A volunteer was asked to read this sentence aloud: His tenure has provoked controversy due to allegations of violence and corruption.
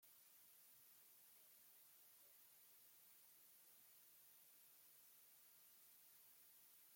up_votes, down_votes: 0, 2